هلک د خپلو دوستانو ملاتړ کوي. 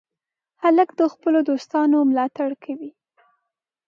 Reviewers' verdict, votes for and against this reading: accepted, 2, 0